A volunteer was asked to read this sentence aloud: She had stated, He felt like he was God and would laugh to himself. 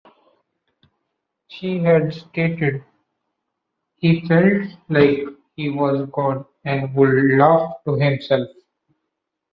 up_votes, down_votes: 2, 0